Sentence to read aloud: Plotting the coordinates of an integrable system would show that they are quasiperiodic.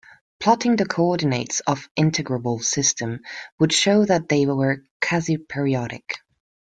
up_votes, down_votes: 1, 2